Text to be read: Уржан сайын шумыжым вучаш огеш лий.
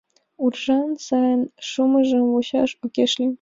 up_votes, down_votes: 1, 2